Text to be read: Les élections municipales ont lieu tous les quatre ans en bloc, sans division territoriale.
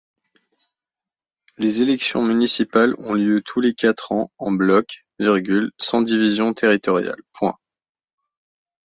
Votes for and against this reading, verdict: 0, 2, rejected